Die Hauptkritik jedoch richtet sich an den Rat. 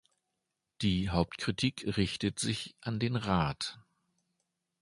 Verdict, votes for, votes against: rejected, 1, 2